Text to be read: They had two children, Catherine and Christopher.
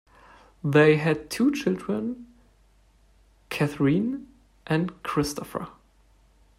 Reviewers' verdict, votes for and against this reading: accepted, 2, 0